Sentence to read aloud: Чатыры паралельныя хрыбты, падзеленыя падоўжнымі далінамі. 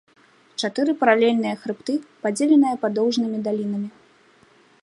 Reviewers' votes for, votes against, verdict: 2, 0, accepted